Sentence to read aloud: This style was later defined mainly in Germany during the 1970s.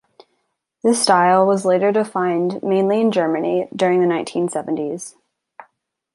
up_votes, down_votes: 0, 2